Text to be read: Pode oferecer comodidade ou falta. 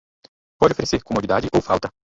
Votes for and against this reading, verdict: 2, 2, rejected